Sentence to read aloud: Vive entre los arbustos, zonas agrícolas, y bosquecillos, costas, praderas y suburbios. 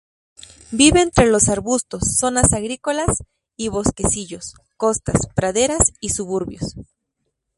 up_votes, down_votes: 2, 0